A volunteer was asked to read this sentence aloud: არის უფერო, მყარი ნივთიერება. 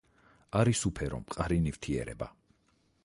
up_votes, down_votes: 4, 0